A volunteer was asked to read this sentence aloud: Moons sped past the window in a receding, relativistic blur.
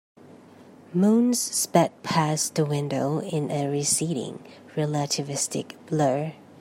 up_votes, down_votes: 2, 0